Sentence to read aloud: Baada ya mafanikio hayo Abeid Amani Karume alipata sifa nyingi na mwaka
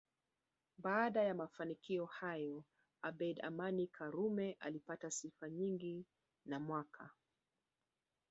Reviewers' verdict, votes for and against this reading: rejected, 1, 3